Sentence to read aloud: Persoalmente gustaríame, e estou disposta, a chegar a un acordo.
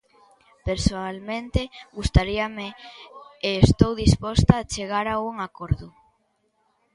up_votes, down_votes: 0, 2